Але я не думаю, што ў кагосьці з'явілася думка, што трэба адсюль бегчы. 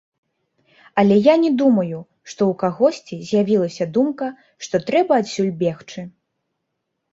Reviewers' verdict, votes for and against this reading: rejected, 1, 2